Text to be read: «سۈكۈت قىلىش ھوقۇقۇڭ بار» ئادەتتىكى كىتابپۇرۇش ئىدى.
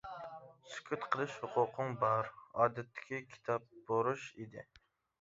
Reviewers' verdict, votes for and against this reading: rejected, 0, 2